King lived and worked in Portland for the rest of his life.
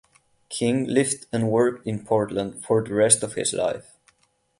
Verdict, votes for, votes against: accepted, 8, 0